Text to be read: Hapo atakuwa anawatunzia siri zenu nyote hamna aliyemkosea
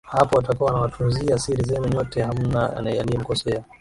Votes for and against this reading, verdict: 2, 0, accepted